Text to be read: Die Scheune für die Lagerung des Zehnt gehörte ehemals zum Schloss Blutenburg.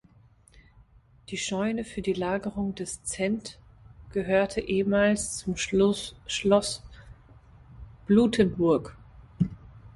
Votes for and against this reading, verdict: 0, 2, rejected